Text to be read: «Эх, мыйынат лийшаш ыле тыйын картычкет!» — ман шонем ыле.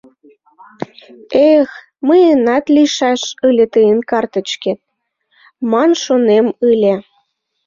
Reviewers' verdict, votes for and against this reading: accepted, 2, 0